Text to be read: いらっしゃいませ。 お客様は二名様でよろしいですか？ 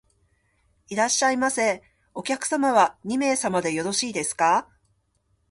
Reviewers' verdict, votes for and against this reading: accepted, 2, 0